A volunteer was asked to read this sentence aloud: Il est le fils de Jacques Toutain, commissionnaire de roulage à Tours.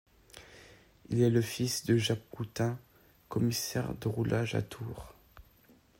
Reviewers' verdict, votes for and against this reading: rejected, 0, 2